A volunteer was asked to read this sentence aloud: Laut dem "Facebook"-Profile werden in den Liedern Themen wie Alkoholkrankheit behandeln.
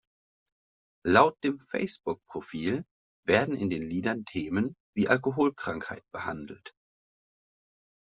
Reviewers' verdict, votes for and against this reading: rejected, 0, 2